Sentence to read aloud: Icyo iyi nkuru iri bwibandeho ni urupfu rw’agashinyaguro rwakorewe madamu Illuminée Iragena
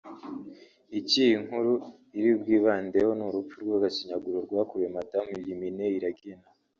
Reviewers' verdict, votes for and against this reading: accepted, 2, 0